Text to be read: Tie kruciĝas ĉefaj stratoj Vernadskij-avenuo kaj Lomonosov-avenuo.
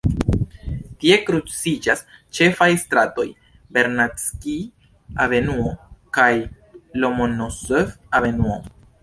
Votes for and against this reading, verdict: 2, 1, accepted